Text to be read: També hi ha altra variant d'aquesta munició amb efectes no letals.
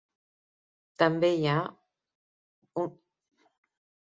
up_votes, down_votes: 0, 2